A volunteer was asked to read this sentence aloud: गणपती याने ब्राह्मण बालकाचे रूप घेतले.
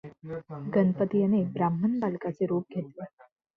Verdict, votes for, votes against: accepted, 2, 0